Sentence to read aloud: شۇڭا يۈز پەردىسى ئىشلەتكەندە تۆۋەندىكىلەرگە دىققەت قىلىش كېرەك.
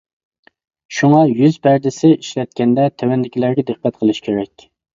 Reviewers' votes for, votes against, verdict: 2, 0, accepted